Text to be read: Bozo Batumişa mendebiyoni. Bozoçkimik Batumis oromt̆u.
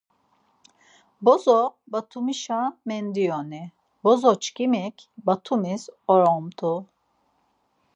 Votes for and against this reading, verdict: 0, 4, rejected